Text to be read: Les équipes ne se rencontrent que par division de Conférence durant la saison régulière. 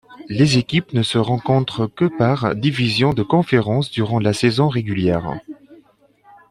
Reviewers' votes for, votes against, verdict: 2, 0, accepted